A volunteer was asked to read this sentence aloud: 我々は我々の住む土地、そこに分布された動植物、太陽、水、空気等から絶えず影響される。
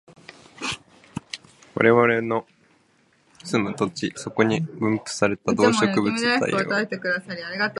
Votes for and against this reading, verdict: 1, 2, rejected